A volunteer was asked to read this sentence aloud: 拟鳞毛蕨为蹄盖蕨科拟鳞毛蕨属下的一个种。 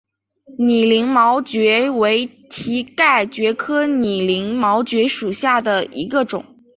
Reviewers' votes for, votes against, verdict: 4, 0, accepted